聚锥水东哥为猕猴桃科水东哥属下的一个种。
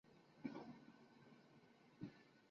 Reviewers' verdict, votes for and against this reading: rejected, 0, 2